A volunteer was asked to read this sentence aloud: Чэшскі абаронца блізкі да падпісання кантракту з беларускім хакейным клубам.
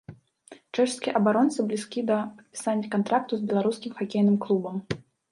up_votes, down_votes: 0, 2